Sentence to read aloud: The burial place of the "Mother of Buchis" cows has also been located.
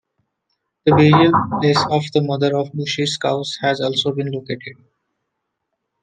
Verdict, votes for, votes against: rejected, 1, 2